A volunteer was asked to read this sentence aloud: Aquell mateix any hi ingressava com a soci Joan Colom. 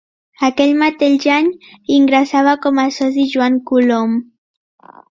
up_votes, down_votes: 1, 2